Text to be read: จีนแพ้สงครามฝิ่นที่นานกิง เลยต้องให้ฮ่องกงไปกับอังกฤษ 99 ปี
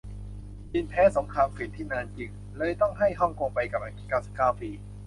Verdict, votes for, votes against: rejected, 0, 2